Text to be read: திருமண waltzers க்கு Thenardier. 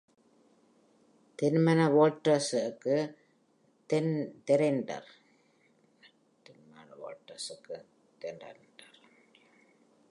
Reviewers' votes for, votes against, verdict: 0, 2, rejected